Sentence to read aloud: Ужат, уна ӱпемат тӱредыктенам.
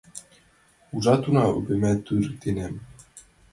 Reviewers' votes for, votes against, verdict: 0, 2, rejected